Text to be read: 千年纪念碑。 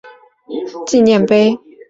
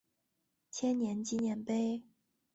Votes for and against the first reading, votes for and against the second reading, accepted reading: 1, 4, 2, 0, second